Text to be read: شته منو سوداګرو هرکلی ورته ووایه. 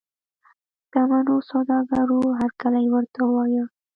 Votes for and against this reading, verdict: 0, 2, rejected